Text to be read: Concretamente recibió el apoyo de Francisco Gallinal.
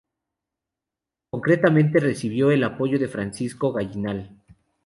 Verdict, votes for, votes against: accepted, 2, 0